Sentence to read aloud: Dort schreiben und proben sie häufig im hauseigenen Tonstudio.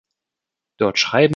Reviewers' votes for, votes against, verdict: 0, 3, rejected